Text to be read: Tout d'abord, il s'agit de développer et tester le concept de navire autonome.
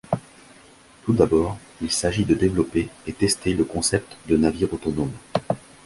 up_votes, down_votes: 0, 2